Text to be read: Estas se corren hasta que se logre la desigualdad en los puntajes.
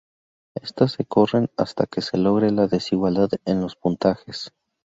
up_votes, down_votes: 4, 0